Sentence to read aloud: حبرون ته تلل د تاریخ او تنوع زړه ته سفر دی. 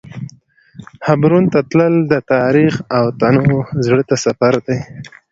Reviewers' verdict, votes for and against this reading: accepted, 2, 1